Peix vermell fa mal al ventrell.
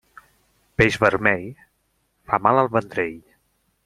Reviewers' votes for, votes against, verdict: 2, 0, accepted